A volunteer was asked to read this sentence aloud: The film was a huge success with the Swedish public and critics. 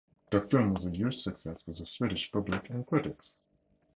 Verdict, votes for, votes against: accepted, 4, 0